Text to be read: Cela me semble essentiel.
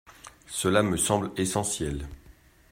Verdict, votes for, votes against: accepted, 2, 0